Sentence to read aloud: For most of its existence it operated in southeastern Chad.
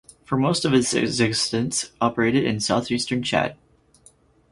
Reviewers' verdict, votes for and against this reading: rejected, 0, 4